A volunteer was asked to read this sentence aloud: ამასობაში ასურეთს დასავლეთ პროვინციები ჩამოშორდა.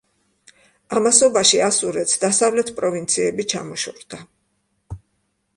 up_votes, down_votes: 2, 0